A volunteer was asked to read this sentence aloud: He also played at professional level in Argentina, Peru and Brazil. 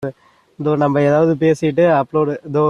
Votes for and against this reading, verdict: 0, 2, rejected